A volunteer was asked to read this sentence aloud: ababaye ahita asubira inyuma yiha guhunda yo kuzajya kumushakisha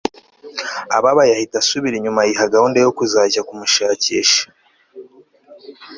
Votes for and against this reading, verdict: 2, 0, accepted